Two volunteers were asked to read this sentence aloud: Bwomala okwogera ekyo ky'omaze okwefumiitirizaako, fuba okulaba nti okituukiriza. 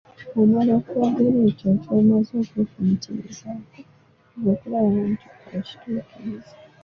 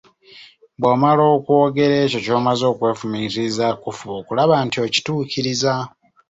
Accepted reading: second